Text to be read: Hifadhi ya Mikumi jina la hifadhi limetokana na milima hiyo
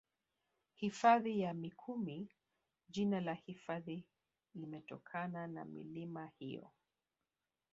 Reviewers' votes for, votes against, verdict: 2, 3, rejected